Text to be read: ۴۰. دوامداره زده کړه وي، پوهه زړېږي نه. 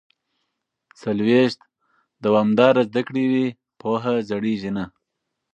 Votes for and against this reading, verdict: 0, 2, rejected